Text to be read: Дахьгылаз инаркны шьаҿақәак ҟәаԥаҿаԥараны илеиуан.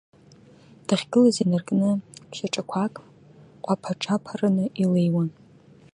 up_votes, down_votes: 2, 0